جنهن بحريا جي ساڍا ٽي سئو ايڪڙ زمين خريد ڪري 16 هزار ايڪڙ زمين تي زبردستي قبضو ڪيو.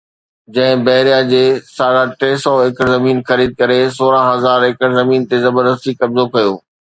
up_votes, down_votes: 0, 2